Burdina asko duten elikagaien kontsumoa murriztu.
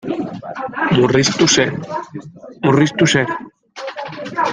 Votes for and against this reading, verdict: 0, 2, rejected